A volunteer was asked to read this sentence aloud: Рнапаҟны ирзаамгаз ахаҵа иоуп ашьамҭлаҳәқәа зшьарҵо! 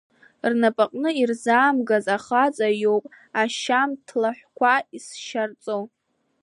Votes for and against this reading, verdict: 0, 2, rejected